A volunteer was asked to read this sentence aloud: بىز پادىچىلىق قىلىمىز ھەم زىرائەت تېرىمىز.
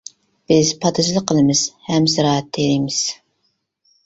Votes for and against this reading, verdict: 1, 2, rejected